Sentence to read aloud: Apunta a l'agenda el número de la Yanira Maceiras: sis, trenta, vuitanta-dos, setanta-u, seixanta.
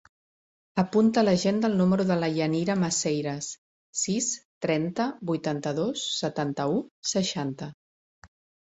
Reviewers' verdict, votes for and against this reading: accepted, 3, 0